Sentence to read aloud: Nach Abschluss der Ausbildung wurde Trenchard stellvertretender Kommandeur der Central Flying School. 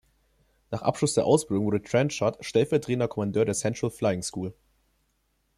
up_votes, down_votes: 2, 0